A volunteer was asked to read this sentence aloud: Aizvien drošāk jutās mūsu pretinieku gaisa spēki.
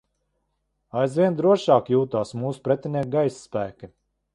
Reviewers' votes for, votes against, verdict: 1, 2, rejected